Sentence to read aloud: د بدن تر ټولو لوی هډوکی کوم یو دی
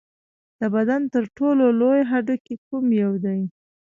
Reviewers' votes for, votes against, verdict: 1, 2, rejected